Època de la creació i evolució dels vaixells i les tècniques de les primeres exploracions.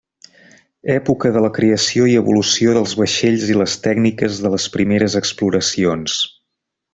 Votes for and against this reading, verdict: 2, 0, accepted